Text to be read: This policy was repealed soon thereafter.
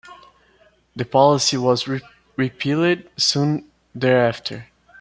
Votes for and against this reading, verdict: 1, 2, rejected